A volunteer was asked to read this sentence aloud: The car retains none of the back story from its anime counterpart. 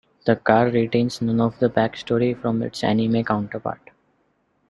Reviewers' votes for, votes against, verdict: 2, 0, accepted